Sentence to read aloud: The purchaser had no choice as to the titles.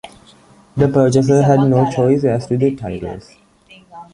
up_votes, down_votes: 2, 0